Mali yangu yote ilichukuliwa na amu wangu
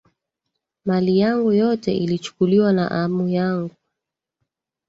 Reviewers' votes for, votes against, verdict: 0, 2, rejected